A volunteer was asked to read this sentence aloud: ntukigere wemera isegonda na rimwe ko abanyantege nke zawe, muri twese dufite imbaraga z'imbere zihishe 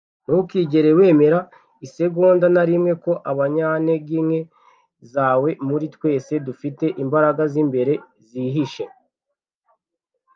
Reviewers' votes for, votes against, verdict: 2, 0, accepted